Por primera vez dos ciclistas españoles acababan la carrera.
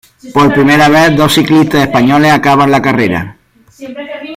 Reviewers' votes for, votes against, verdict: 0, 2, rejected